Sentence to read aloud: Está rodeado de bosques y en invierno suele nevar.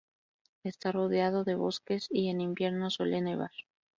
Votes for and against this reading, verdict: 2, 0, accepted